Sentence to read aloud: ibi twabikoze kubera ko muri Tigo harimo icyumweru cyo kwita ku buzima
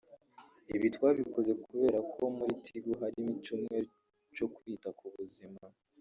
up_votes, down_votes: 1, 2